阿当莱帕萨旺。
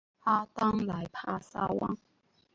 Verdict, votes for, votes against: accepted, 2, 0